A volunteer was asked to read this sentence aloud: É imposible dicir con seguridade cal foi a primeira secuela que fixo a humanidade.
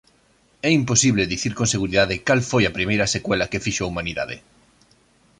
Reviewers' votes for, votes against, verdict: 2, 0, accepted